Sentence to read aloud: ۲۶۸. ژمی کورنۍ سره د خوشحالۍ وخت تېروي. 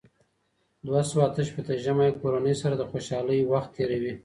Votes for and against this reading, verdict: 0, 2, rejected